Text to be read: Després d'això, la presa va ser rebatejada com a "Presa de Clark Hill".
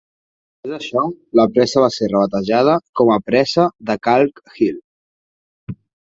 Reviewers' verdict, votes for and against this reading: rejected, 0, 4